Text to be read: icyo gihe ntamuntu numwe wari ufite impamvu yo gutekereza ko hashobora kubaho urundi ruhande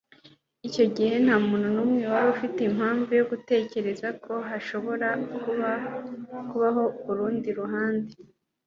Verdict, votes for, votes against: accepted, 2, 0